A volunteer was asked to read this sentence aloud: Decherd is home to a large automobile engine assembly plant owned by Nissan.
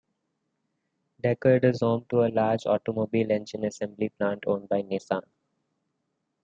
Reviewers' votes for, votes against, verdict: 2, 1, accepted